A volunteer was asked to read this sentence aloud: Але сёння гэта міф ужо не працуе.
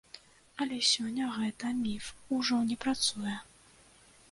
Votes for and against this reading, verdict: 2, 3, rejected